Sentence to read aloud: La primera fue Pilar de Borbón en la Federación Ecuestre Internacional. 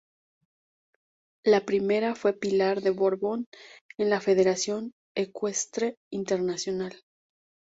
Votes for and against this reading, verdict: 4, 0, accepted